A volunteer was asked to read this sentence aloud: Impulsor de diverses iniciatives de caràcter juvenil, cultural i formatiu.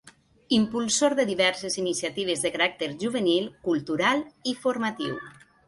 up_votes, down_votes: 2, 0